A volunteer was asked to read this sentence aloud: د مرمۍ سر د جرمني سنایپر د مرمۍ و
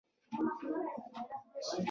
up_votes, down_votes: 0, 2